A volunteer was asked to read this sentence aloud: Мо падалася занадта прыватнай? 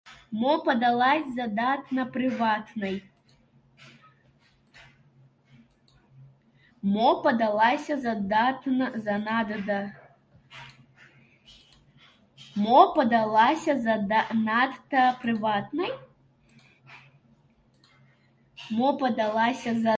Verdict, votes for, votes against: rejected, 0, 2